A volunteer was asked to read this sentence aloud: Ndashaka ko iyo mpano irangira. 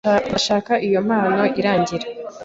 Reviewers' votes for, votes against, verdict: 2, 0, accepted